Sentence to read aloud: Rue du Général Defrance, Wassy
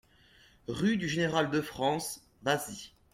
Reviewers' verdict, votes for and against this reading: accepted, 2, 0